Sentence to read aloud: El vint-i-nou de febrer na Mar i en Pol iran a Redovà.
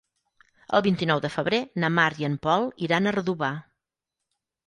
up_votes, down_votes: 6, 0